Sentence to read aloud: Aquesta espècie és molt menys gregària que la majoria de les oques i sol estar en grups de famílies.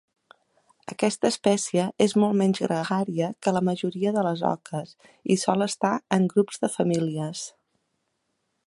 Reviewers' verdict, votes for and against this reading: accepted, 3, 0